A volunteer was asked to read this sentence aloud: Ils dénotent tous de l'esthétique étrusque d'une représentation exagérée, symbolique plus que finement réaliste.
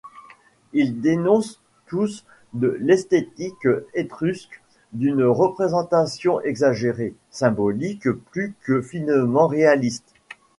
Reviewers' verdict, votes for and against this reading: rejected, 0, 2